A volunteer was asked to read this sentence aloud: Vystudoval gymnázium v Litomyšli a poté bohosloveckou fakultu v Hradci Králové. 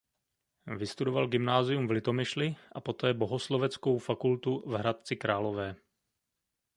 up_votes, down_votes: 2, 0